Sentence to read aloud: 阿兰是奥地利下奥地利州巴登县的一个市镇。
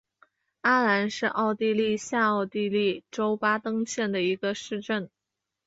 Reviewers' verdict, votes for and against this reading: accepted, 2, 1